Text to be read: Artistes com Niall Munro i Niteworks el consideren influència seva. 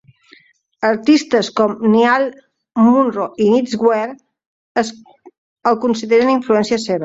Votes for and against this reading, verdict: 0, 2, rejected